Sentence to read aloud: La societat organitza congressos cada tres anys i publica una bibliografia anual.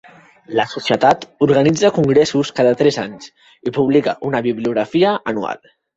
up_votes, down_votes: 2, 0